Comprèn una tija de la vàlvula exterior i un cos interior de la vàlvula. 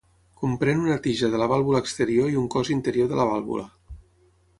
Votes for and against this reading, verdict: 6, 0, accepted